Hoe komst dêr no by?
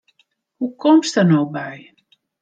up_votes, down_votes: 1, 2